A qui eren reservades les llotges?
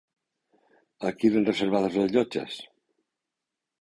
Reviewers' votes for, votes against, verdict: 1, 2, rejected